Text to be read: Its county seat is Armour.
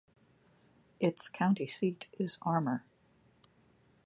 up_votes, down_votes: 2, 0